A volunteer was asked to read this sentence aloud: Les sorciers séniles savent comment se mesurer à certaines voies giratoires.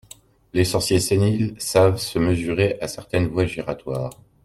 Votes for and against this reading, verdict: 0, 2, rejected